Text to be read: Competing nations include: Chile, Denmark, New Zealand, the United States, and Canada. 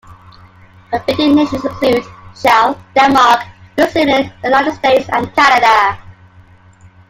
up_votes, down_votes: 0, 2